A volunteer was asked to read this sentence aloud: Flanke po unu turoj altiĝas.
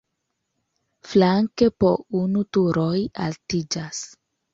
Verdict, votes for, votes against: accepted, 2, 0